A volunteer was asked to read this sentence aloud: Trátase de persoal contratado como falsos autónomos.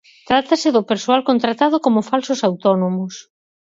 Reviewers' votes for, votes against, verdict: 2, 4, rejected